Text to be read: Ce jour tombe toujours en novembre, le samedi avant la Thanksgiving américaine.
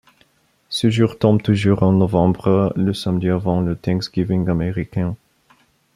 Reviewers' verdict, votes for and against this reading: rejected, 1, 2